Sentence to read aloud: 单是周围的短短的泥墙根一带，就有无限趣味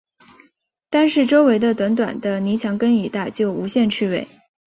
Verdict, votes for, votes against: accepted, 2, 0